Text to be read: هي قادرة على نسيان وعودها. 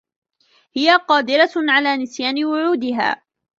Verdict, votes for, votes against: accepted, 2, 1